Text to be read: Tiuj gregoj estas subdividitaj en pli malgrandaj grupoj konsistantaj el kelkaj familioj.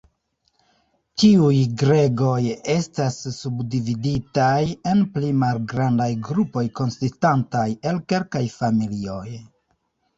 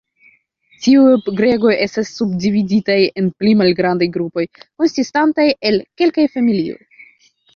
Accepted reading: second